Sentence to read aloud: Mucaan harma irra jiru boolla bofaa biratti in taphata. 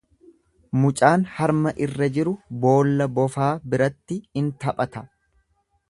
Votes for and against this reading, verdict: 2, 0, accepted